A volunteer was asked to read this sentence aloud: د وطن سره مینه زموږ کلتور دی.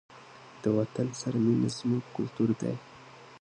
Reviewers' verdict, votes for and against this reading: rejected, 1, 2